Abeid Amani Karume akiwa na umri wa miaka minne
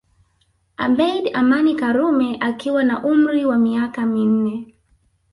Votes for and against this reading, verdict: 1, 2, rejected